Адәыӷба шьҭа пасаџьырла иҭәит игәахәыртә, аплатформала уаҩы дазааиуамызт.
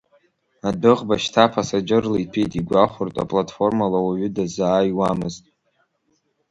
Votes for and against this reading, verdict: 2, 0, accepted